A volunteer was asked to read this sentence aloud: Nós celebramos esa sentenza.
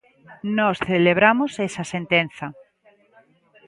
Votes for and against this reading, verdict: 1, 2, rejected